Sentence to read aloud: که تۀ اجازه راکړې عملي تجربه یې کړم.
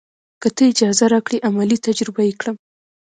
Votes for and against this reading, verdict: 1, 2, rejected